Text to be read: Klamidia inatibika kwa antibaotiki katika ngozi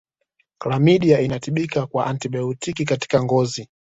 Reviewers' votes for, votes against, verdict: 2, 0, accepted